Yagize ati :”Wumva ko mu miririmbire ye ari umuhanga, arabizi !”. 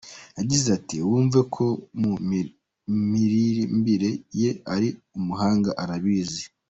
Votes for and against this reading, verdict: 2, 0, accepted